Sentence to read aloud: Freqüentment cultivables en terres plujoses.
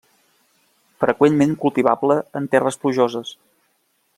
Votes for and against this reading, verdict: 1, 2, rejected